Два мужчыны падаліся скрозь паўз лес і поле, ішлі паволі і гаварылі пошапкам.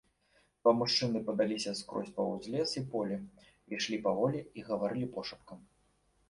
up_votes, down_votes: 2, 0